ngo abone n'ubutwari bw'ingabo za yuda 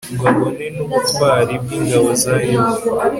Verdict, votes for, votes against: accepted, 2, 0